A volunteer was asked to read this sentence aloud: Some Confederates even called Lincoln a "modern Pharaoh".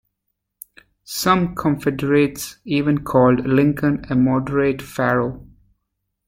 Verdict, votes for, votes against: rejected, 1, 2